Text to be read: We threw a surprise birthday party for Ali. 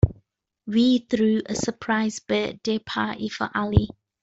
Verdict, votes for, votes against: accepted, 2, 0